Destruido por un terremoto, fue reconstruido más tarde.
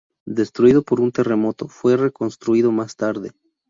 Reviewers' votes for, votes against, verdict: 2, 0, accepted